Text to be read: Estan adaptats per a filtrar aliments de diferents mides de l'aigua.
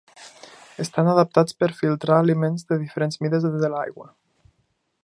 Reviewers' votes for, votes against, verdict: 0, 2, rejected